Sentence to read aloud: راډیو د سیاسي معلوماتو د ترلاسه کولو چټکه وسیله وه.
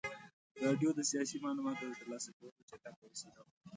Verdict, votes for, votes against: accepted, 2, 0